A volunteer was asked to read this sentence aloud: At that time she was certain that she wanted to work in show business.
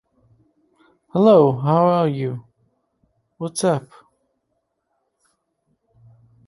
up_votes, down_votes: 0, 3